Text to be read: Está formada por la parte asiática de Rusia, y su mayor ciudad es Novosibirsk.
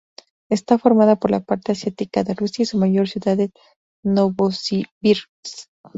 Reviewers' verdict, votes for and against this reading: accepted, 2, 0